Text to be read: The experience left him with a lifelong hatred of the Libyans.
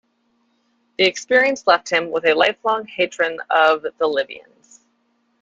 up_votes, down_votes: 1, 2